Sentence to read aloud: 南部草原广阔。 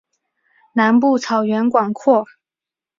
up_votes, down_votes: 2, 1